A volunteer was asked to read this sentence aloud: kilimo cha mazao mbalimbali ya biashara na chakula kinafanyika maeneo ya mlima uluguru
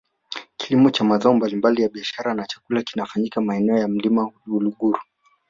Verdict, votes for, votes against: rejected, 1, 2